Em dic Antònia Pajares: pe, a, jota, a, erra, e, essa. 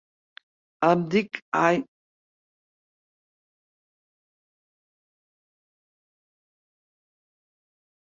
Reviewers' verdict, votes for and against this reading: rejected, 0, 3